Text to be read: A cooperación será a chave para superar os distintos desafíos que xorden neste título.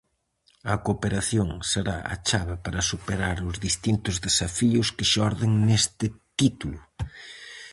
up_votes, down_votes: 4, 0